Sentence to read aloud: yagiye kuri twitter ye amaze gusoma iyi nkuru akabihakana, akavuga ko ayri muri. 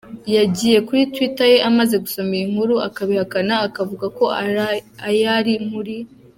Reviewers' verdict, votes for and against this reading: rejected, 0, 2